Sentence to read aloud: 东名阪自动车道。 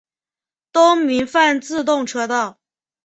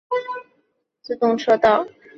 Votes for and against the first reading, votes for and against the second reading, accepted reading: 2, 0, 0, 4, first